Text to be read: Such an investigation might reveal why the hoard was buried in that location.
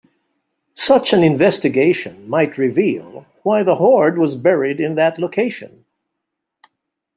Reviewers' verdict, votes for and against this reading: accepted, 2, 0